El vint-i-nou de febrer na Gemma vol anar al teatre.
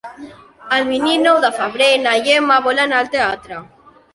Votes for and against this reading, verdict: 0, 2, rejected